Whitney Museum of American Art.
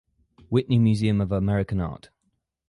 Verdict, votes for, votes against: accepted, 4, 0